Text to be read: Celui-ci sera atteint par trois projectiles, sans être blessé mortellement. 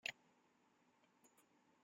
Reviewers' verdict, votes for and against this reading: rejected, 0, 2